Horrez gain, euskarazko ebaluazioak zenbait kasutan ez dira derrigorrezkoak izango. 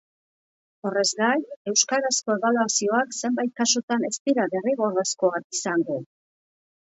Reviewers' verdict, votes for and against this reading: accepted, 2, 0